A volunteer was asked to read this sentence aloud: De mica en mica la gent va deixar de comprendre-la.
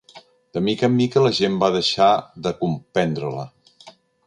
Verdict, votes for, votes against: accepted, 3, 0